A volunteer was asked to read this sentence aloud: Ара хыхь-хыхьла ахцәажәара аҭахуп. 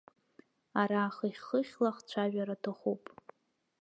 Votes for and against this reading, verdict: 2, 0, accepted